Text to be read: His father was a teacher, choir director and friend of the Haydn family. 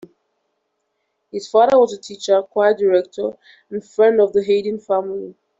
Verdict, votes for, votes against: accepted, 2, 0